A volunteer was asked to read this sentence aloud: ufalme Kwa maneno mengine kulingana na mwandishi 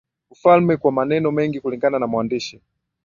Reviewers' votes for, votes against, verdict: 2, 0, accepted